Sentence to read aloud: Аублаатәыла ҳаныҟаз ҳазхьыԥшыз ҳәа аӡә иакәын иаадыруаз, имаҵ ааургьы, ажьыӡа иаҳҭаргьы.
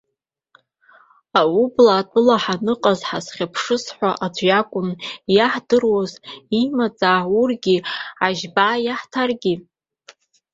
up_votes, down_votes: 1, 2